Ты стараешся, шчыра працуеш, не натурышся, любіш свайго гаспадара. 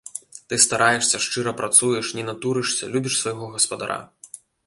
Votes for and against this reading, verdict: 2, 1, accepted